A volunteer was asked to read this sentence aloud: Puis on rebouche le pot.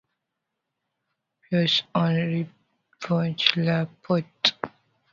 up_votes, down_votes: 0, 2